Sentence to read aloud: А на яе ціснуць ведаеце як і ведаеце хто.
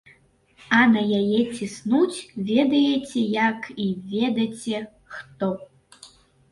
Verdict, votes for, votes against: rejected, 0, 2